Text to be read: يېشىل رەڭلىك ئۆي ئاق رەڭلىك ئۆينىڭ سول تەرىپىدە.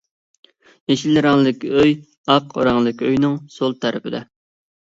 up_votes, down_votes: 2, 0